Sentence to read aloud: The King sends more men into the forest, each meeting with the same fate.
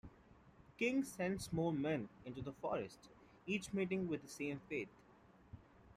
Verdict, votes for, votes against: accepted, 2, 0